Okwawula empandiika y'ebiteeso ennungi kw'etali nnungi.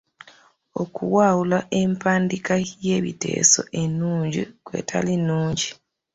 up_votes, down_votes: 0, 2